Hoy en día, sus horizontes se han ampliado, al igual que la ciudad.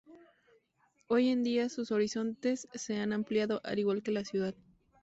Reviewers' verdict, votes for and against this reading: accepted, 2, 0